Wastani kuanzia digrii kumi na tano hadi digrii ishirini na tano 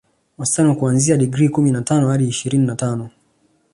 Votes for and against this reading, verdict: 2, 0, accepted